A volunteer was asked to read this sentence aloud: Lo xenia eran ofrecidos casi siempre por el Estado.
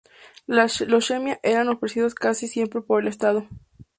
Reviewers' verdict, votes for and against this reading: rejected, 0, 2